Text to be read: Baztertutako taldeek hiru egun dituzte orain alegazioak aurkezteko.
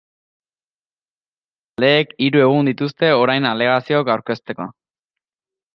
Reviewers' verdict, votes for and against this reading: rejected, 0, 2